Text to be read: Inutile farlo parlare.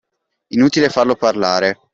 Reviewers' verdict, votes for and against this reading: accepted, 2, 0